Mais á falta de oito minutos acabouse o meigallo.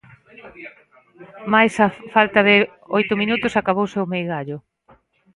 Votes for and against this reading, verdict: 0, 2, rejected